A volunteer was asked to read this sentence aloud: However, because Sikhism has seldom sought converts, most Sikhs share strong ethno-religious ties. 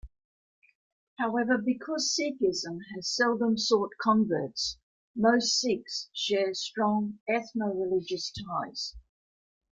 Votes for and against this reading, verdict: 2, 1, accepted